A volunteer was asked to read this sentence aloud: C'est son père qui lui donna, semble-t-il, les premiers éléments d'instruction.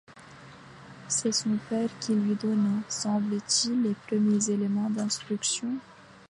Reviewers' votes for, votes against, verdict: 2, 0, accepted